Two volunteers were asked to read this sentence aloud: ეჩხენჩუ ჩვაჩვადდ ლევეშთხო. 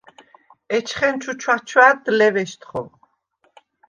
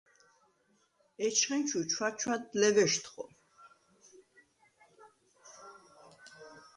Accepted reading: second